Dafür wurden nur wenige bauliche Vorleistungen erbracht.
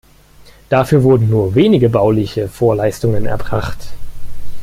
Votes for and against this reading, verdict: 3, 0, accepted